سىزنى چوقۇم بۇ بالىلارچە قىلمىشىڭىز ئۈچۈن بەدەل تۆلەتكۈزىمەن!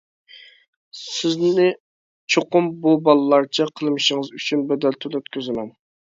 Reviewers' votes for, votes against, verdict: 2, 0, accepted